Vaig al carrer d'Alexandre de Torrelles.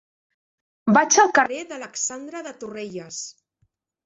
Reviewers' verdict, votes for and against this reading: rejected, 1, 2